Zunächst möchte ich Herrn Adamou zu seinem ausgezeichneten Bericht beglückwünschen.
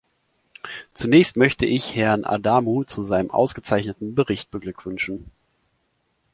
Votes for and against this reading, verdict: 2, 0, accepted